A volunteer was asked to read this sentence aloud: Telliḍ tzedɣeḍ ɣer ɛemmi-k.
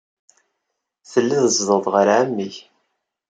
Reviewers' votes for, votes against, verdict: 2, 0, accepted